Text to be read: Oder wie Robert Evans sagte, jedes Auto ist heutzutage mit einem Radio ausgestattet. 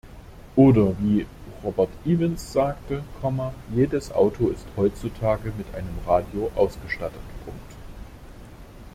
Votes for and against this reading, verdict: 0, 2, rejected